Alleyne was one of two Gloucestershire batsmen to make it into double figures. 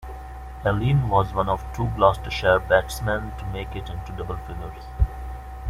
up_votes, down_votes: 1, 2